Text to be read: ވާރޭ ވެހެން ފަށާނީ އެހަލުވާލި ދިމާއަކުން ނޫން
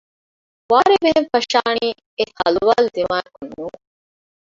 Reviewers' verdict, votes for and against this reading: rejected, 1, 2